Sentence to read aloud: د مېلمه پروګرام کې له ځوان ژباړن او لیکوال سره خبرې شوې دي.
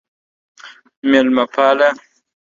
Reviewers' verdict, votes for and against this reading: rejected, 0, 2